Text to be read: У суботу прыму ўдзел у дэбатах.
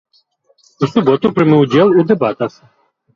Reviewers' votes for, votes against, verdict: 1, 2, rejected